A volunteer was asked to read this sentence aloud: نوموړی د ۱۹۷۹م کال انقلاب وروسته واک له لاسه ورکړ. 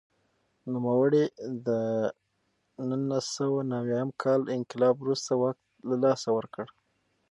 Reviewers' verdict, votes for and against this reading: rejected, 0, 2